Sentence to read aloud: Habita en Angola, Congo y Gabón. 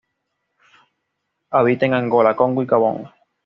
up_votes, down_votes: 2, 0